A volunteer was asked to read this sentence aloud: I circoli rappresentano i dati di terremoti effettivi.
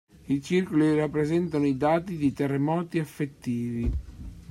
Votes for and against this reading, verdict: 3, 1, accepted